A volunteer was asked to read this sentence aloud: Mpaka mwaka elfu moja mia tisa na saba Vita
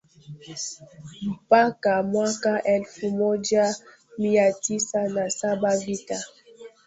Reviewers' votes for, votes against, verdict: 1, 2, rejected